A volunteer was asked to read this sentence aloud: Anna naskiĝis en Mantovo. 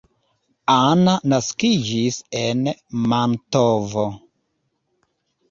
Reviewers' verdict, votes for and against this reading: accepted, 2, 0